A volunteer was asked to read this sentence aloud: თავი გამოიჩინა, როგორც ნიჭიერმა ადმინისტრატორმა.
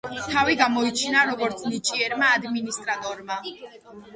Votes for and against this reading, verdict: 0, 2, rejected